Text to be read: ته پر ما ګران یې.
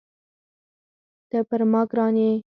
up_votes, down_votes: 2, 4